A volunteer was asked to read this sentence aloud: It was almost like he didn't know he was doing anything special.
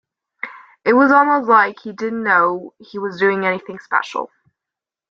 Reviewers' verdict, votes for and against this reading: accepted, 2, 0